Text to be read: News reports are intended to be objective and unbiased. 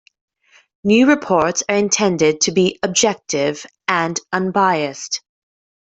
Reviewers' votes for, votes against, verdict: 1, 2, rejected